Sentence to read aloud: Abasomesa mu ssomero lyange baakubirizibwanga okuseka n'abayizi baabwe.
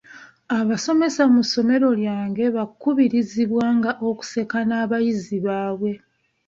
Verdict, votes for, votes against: rejected, 1, 2